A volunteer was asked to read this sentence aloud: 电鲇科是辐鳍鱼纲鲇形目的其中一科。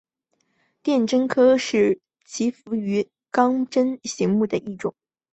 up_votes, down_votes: 2, 0